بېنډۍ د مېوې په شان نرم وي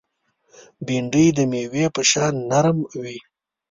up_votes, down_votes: 2, 0